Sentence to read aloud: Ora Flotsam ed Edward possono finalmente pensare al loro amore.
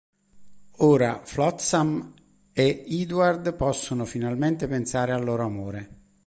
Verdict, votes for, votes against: rejected, 1, 2